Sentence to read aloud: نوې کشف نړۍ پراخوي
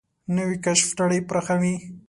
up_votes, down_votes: 3, 0